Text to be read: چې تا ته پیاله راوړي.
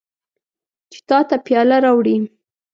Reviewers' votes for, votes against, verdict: 2, 0, accepted